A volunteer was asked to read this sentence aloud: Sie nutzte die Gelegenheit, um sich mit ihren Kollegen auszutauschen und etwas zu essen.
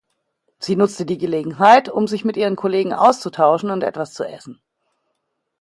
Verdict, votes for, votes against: accepted, 2, 0